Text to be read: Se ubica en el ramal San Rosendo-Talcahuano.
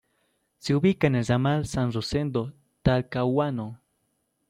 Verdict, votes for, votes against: accepted, 2, 0